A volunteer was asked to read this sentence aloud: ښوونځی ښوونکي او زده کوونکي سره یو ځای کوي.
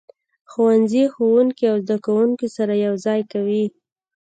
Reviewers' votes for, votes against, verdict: 2, 0, accepted